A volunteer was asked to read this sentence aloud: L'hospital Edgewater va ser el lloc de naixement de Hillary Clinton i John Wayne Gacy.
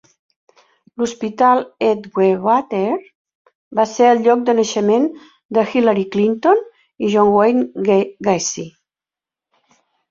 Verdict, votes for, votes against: rejected, 0, 2